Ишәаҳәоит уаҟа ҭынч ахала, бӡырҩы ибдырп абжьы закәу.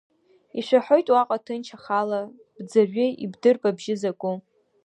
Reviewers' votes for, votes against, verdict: 2, 0, accepted